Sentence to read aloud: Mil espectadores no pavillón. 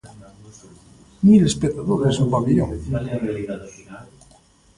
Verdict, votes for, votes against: rejected, 1, 2